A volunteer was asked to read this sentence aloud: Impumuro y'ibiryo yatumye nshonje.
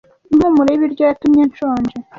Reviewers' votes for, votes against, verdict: 2, 0, accepted